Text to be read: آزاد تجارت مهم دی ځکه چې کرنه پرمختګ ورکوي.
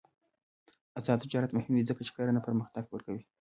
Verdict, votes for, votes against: rejected, 1, 2